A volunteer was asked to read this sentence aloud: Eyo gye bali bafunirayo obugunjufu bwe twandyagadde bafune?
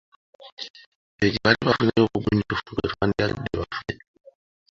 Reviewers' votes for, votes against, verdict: 1, 2, rejected